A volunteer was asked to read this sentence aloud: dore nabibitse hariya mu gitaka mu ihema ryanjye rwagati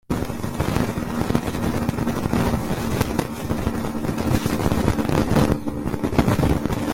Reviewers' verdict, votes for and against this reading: rejected, 0, 2